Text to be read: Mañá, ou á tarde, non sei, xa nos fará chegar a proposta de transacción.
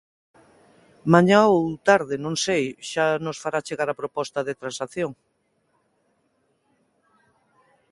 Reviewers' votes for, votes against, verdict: 0, 2, rejected